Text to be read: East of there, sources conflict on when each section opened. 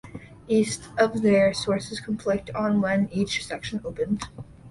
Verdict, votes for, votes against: accepted, 2, 0